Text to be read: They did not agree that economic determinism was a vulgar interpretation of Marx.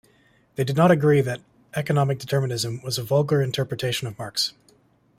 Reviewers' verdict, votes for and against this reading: accepted, 2, 0